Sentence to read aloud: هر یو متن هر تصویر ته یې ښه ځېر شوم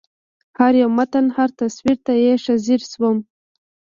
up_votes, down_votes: 1, 2